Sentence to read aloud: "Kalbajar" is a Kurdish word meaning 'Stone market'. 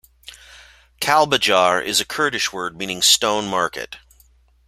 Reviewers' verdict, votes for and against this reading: accepted, 2, 0